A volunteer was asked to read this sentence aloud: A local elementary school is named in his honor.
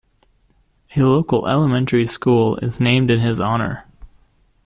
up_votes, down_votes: 2, 1